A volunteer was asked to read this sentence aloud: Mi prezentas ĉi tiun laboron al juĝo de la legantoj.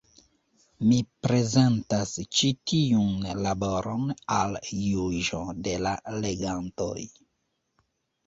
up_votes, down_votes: 2, 0